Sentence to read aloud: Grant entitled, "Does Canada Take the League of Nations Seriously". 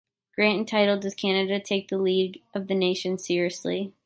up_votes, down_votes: 1, 2